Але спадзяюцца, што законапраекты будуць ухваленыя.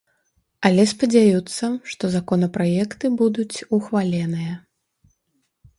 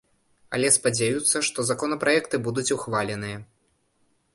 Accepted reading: second